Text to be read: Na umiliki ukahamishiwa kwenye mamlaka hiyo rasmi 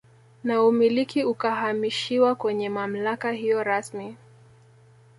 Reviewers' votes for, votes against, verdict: 2, 0, accepted